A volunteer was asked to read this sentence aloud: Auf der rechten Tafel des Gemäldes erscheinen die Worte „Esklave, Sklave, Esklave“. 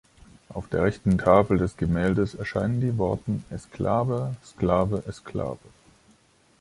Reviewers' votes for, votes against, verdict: 2, 1, accepted